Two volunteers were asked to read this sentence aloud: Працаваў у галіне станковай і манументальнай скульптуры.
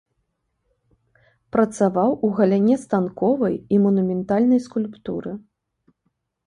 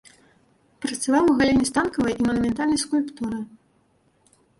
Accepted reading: first